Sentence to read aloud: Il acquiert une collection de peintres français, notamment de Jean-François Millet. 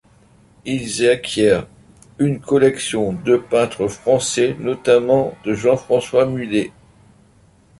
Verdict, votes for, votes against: rejected, 0, 2